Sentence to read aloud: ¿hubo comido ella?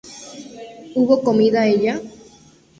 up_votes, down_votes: 0, 2